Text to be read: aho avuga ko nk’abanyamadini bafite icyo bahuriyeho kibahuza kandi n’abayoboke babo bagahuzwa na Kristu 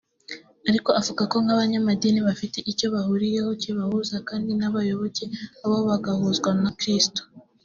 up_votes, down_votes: 0, 2